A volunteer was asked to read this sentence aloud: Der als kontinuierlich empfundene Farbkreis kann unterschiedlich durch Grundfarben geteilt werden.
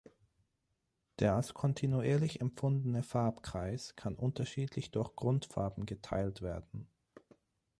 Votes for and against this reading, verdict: 9, 0, accepted